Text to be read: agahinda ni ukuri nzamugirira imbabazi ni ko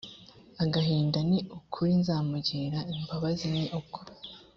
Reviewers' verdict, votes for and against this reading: accepted, 2, 0